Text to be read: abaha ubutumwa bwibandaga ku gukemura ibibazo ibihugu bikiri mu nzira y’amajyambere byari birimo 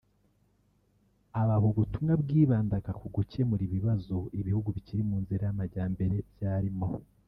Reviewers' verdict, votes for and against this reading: rejected, 0, 3